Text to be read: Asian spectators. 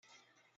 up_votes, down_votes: 0, 2